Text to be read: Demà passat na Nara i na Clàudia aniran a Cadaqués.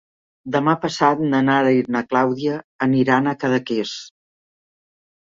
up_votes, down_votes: 4, 0